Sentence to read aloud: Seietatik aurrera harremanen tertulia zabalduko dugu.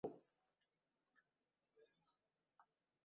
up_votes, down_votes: 0, 8